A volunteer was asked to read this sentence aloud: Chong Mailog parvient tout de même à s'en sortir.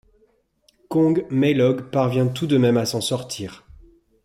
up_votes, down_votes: 1, 2